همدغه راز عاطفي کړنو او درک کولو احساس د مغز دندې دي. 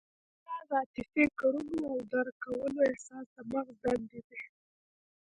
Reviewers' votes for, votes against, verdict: 1, 2, rejected